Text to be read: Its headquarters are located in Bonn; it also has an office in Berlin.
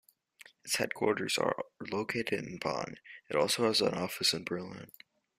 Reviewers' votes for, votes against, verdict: 0, 2, rejected